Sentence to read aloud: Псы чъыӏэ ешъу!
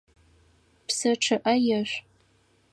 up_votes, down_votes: 4, 0